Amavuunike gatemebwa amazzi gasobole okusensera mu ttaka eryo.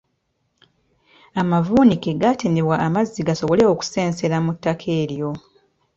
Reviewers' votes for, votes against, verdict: 2, 0, accepted